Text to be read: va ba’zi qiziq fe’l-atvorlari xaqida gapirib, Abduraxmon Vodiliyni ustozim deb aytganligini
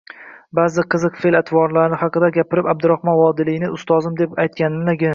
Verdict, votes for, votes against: rejected, 0, 2